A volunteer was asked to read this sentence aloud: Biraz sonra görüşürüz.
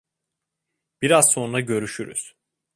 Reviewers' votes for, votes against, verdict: 2, 0, accepted